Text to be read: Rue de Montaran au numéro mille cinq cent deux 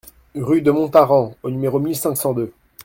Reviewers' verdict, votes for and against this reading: accepted, 2, 0